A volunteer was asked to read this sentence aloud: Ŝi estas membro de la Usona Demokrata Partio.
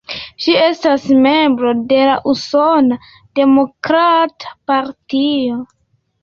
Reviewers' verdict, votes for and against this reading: accepted, 2, 0